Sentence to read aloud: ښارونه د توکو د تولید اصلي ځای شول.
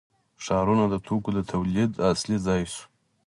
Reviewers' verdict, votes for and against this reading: rejected, 2, 4